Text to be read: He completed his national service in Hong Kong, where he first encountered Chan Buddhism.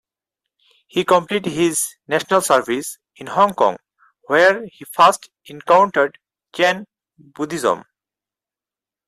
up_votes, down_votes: 4, 0